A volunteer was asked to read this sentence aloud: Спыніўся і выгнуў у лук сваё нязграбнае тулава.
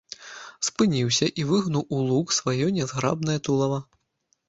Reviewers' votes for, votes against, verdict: 2, 0, accepted